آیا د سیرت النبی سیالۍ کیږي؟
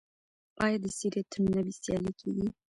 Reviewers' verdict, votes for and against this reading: rejected, 0, 2